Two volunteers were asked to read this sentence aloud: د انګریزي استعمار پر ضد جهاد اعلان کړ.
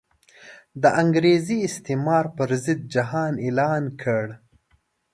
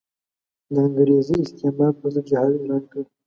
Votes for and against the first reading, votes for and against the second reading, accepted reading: 1, 2, 5, 1, second